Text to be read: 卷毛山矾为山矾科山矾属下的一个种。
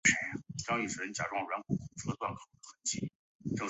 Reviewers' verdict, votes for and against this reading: rejected, 0, 2